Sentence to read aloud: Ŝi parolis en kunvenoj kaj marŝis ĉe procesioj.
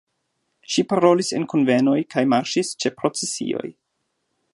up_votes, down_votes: 2, 0